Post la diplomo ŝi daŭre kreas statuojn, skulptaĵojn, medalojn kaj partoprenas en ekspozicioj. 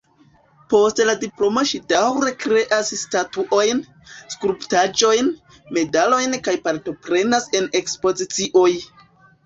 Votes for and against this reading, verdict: 2, 1, accepted